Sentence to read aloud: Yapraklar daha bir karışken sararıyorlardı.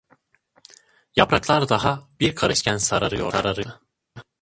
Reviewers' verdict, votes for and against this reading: rejected, 0, 2